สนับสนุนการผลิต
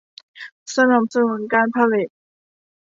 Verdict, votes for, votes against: accepted, 2, 0